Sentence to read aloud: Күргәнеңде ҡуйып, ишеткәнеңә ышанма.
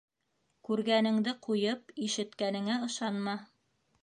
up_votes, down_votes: 3, 1